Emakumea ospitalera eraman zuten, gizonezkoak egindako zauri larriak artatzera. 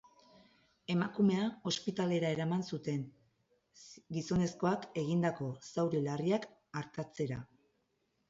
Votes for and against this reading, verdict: 4, 0, accepted